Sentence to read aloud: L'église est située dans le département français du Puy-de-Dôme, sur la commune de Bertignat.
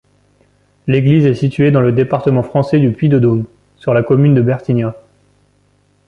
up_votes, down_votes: 2, 0